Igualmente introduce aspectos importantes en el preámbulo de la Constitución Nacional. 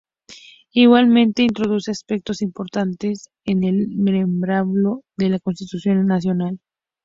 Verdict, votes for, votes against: rejected, 0, 2